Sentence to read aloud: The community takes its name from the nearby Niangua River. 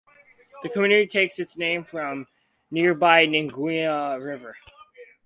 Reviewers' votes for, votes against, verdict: 0, 2, rejected